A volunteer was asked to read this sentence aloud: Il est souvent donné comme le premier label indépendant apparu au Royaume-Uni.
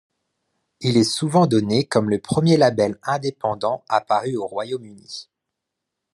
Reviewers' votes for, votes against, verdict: 2, 0, accepted